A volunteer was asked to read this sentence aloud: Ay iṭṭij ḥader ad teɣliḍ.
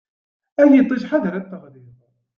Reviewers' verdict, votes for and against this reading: accepted, 2, 0